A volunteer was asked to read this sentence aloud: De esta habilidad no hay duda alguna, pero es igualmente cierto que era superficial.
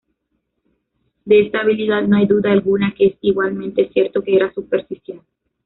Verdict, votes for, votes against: rejected, 0, 2